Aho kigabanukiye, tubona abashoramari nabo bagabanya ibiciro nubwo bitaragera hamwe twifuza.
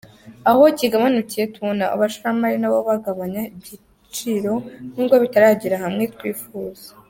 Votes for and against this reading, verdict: 2, 0, accepted